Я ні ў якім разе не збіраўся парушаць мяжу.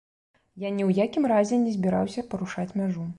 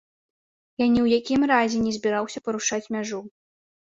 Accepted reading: first